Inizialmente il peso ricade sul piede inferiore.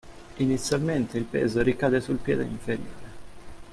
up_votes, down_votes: 2, 0